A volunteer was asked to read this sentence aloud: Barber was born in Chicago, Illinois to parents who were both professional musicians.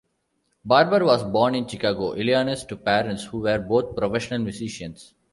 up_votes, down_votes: 3, 1